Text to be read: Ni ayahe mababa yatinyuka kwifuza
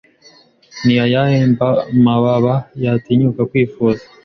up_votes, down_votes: 0, 2